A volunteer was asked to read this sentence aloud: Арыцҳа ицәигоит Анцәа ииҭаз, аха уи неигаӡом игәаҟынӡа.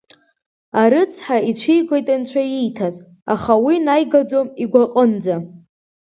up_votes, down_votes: 0, 2